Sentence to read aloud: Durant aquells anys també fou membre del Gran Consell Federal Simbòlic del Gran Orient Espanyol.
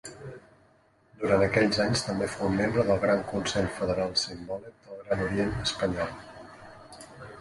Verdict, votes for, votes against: rejected, 0, 2